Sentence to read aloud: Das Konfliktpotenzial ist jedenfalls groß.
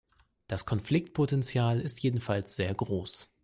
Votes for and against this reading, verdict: 0, 2, rejected